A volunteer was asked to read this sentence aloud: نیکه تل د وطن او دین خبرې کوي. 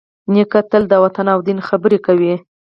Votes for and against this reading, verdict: 2, 4, rejected